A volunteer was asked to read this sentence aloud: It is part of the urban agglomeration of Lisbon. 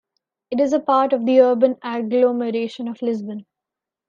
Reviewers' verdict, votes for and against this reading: accepted, 2, 0